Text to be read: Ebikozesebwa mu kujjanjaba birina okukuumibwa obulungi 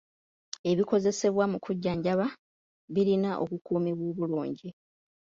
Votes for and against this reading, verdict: 2, 0, accepted